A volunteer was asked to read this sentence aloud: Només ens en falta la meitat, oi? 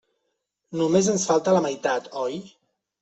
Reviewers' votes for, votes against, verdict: 2, 0, accepted